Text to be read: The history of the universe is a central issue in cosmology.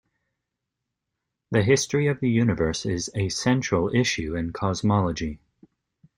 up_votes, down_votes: 2, 0